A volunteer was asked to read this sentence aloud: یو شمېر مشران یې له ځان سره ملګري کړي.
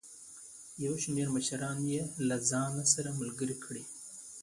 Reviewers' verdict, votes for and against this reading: accepted, 2, 0